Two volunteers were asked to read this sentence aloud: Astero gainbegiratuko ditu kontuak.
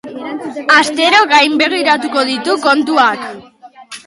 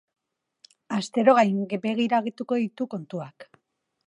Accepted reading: first